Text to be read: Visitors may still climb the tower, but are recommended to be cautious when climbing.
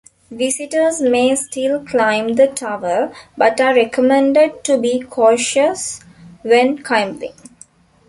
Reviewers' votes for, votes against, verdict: 2, 3, rejected